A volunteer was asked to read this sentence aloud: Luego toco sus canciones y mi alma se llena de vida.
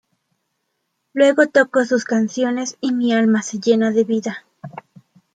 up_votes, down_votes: 2, 0